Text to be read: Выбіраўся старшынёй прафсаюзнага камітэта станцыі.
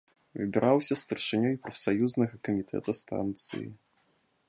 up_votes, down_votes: 2, 0